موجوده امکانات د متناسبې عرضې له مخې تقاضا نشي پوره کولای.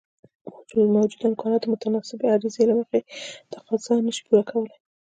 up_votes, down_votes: 2, 1